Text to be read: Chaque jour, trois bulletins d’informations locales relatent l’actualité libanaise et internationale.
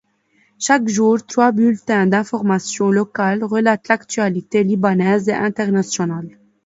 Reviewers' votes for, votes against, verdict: 2, 0, accepted